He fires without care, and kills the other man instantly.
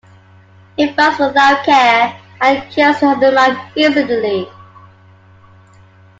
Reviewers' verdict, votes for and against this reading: rejected, 0, 2